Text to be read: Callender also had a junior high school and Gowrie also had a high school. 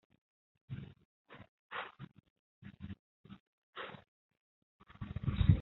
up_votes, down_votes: 0, 2